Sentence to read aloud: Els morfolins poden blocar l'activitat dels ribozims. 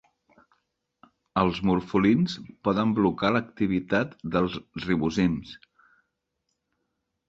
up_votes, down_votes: 5, 0